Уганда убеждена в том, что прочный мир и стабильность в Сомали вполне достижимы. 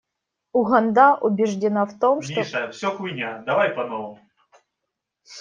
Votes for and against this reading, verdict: 0, 2, rejected